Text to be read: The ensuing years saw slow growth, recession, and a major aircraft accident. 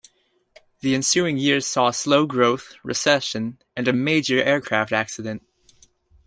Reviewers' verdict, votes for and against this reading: accepted, 2, 0